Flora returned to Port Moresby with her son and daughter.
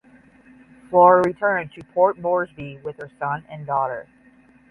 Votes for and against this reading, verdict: 10, 0, accepted